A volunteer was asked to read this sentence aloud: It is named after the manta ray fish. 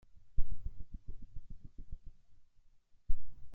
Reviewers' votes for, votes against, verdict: 0, 2, rejected